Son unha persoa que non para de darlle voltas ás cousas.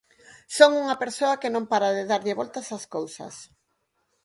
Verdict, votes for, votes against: accepted, 4, 0